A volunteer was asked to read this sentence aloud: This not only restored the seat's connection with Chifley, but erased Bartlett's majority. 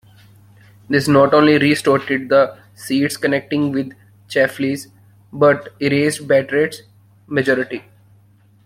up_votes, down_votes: 0, 2